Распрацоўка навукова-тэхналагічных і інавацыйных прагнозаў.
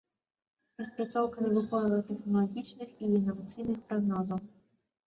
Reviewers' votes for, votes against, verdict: 0, 2, rejected